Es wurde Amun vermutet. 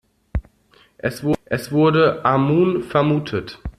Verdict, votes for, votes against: rejected, 0, 2